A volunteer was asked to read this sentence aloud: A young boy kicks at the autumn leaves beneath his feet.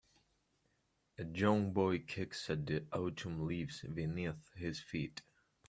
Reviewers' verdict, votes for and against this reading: rejected, 1, 2